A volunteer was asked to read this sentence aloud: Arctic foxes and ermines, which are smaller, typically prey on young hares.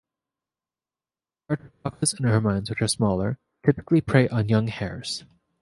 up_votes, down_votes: 0, 2